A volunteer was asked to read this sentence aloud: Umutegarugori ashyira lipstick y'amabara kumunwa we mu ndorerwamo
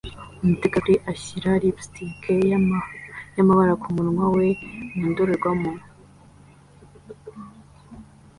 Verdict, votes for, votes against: accepted, 2, 0